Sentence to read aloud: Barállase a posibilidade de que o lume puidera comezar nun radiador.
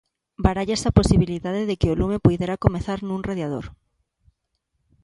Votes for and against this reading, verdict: 2, 0, accepted